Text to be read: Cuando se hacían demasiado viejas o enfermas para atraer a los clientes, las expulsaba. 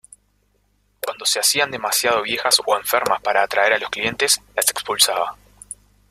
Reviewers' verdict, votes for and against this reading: accepted, 2, 0